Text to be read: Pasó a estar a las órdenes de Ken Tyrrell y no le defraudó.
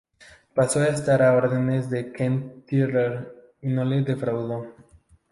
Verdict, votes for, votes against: rejected, 0, 2